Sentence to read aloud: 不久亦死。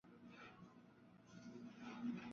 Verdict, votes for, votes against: rejected, 0, 5